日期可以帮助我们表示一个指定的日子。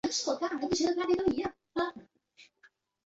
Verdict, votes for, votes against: rejected, 0, 3